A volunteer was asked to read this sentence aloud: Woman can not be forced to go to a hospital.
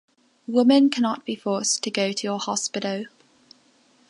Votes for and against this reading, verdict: 1, 2, rejected